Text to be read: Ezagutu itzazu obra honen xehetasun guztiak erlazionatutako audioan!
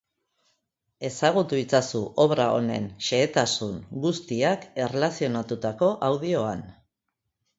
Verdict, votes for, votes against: accepted, 2, 0